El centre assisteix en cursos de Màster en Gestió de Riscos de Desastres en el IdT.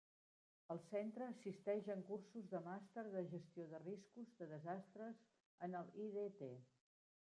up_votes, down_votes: 0, 2